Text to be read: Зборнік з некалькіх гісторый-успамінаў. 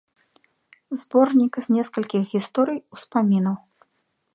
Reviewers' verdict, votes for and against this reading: rejected, 1, 2